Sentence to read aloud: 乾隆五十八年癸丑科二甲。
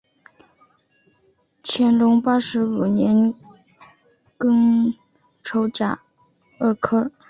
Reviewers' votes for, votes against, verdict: 1, 2, rejected